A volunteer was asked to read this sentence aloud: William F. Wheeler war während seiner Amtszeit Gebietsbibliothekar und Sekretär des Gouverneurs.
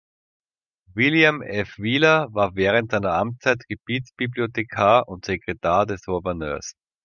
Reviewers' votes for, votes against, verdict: 0, 2, rejected